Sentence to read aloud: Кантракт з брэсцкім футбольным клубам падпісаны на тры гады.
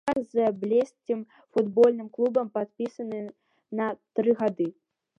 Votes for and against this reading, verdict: 0, 2, rejected